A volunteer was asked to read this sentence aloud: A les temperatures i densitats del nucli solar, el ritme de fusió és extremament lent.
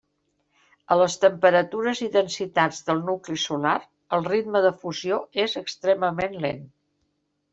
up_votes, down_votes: 3, 0